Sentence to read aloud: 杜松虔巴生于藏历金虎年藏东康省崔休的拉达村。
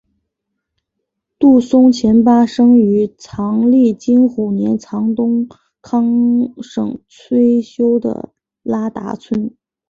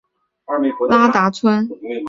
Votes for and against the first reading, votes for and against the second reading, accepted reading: 2, 0, 0, 2, first